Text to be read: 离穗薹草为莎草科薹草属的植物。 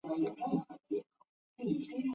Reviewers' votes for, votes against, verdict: 0, 3, rejected